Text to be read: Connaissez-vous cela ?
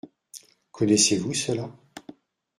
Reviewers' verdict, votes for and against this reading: rejected, 1, 2